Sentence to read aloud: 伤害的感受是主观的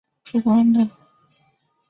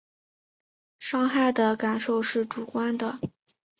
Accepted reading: second